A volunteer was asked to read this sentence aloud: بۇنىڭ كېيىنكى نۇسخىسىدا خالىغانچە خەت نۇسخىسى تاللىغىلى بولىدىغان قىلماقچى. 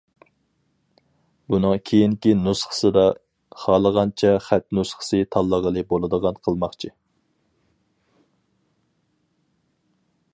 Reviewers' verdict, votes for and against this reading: accepted, 4, 0